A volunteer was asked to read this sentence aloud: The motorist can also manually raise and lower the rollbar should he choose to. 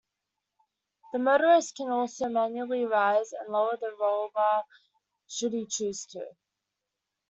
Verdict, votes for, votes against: rejected, 0, 2